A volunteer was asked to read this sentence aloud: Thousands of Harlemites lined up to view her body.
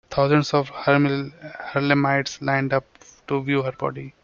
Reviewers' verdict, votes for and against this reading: rejected, 0, 2